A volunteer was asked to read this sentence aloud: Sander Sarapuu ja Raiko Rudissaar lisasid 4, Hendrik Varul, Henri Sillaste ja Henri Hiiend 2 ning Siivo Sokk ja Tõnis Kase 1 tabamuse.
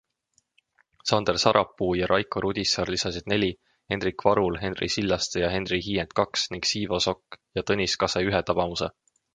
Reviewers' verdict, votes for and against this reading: rejected, 0, 2